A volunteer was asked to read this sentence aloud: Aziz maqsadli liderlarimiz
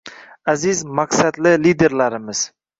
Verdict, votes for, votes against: accepted, 2, 0